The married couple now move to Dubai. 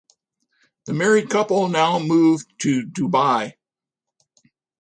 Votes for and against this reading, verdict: 2, 0, accepted